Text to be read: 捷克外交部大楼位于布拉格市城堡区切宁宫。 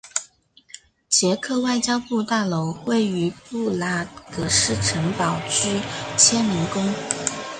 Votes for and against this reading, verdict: 1, 2, rejected